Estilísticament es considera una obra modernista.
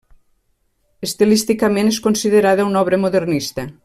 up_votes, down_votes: 1, 2